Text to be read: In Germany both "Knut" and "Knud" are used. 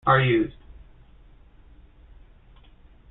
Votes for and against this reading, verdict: 0, 2, rejected